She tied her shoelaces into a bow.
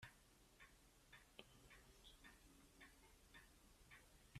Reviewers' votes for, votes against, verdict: 0, 2, rejected